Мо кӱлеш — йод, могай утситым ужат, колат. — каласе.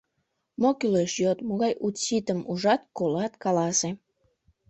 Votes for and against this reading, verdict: 0, 2, rejected